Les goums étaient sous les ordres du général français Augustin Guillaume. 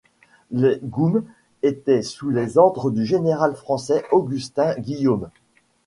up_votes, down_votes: 2, 0